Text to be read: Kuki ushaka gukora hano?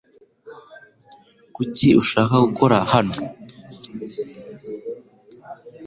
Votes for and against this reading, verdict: 2, 0, accepted